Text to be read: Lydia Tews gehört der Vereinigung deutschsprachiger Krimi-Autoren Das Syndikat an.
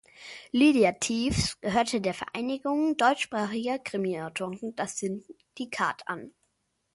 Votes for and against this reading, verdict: 0, 2, rejected